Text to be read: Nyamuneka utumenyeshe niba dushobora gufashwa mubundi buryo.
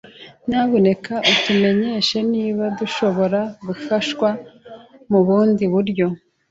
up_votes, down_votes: 2, 0